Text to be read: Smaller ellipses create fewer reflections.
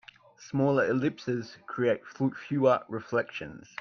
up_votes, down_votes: 1, 2